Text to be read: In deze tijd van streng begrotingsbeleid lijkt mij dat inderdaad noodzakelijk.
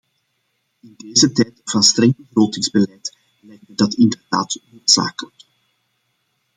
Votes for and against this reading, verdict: 0, 2, rejected